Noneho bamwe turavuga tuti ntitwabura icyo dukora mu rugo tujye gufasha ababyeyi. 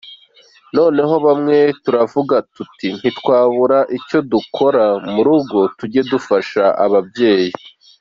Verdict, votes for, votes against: accepted, 2, 0